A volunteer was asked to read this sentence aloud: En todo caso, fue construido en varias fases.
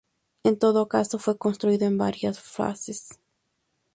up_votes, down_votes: 2, 0